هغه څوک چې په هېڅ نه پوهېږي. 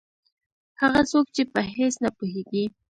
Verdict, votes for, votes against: accepted, 2, 1